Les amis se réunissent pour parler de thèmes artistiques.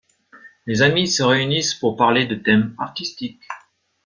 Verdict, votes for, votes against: accepted, 2, 0